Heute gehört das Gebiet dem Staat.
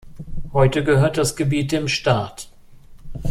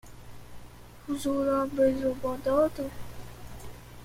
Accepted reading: first